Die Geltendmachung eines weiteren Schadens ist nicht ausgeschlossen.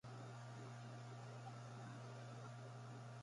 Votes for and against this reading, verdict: 0, 2, rejected